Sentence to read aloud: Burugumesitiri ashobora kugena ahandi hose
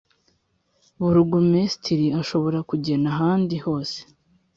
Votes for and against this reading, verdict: 2, 0, accepted